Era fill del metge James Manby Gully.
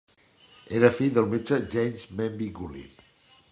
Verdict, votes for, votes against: accepted, 2, 1